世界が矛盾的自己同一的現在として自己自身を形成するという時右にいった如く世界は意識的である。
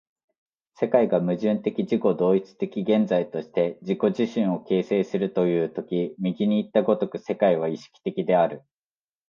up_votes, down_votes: 2, 0